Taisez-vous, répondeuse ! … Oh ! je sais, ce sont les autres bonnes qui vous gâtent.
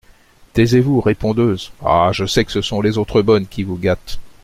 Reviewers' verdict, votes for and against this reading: rejected, 1, 2